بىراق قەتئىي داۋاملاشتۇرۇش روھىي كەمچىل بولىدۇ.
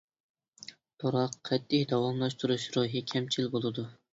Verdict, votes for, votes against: accepted, 2, 1